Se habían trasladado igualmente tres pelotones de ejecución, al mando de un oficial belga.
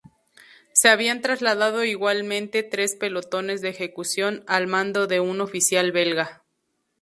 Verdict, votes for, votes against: rejected, 0, 2